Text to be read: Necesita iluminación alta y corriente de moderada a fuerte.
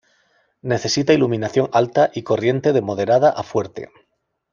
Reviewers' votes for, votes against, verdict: 2, 0, accepted